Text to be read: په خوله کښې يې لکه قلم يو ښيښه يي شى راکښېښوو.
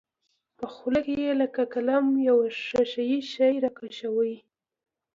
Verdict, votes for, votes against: rejected, 1, 2